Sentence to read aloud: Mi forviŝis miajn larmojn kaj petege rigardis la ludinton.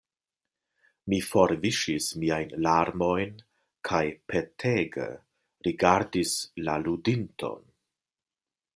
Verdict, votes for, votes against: accepted, 2, 0